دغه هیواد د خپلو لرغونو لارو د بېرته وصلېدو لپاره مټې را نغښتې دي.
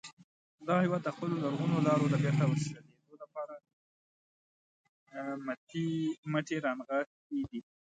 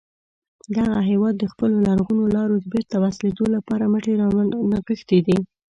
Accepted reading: first